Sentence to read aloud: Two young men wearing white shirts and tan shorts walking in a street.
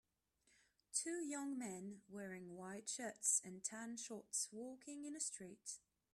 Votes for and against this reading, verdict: 2, 0, accepted